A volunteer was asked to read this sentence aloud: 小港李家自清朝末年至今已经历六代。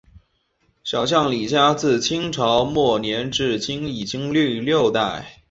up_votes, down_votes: 1, 2